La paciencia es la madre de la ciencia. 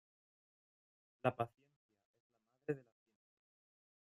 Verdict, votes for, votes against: rejected, 0, 2